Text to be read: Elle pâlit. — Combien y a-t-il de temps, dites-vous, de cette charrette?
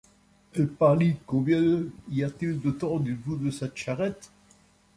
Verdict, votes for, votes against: rejected, 1, 2